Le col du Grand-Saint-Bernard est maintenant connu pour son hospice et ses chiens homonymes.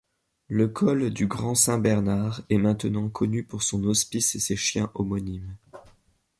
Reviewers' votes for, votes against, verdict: 2, 0, accepted